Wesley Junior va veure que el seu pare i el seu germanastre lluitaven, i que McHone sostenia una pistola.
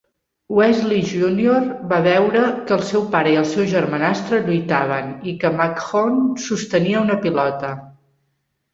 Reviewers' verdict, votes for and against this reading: rejected, 0, 2